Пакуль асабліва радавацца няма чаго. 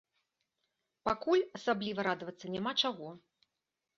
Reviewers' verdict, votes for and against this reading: accepted, 2, 0